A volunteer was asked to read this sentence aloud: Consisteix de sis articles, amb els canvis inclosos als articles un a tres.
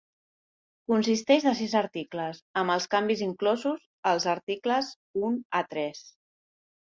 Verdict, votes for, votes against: accepted, 3, 0